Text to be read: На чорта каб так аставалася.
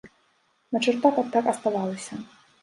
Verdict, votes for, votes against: rejected, 0, 2